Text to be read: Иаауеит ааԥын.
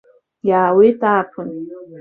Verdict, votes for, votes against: rejected, 0, 2